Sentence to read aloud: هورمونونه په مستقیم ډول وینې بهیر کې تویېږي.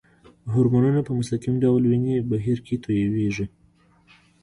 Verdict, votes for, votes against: accepted, 2, 1